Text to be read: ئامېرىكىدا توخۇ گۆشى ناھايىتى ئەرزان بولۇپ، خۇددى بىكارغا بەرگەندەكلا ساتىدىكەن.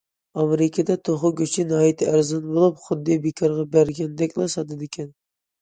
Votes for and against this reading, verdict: 2, 0, accepted